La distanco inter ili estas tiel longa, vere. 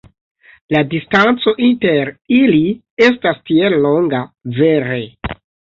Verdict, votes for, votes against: accepted, 2, 0